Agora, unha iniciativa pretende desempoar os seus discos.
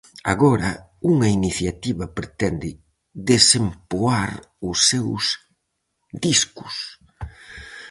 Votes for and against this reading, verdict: 4, 0, accepted